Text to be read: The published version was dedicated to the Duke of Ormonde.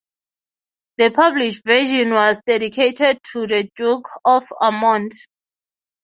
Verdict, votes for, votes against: accepted, 3, 0